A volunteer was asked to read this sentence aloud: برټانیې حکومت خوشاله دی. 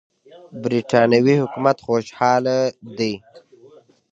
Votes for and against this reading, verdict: 2, 0, accepted